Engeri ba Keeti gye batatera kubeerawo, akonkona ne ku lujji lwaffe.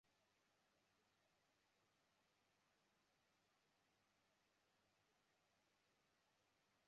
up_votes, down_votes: 0, 2